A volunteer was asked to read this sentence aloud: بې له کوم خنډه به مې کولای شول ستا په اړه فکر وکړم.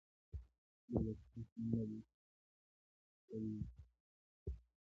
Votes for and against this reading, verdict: 0, 2, rejected